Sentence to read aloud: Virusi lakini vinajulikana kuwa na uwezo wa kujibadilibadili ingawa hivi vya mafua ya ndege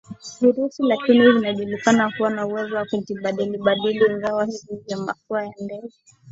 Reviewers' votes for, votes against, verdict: 0, 2, rejected